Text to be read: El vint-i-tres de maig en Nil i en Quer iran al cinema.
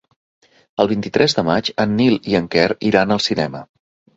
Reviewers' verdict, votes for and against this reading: accepted, 3, 0